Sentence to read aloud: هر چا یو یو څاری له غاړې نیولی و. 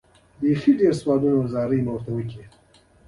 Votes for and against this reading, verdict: 0, 2, rejected